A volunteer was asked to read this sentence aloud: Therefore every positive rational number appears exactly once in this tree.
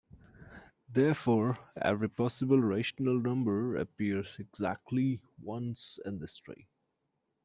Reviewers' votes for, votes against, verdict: 1, 2, rejected